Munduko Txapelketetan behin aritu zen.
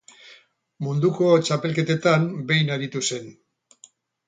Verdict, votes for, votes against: accepted, 8, 0